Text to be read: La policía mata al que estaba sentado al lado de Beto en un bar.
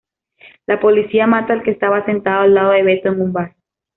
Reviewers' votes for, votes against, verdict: 2, 0, accepted